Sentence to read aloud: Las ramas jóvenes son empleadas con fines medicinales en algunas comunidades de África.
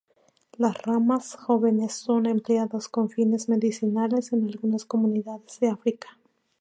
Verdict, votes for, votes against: accepted, 2, 0